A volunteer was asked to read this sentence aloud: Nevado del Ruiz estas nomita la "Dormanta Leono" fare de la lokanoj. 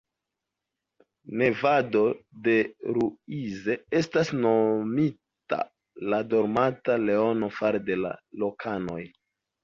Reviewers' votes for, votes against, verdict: 1, 2, rejected